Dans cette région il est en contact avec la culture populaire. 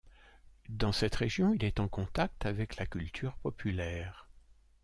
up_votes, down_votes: 2, 0